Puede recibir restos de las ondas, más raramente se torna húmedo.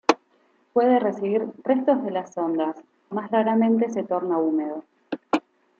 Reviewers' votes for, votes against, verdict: 2, 0, accepted